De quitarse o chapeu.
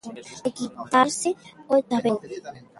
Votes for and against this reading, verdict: 0, 3, rejected